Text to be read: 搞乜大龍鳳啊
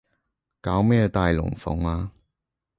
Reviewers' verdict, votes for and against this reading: rejected, 1, 2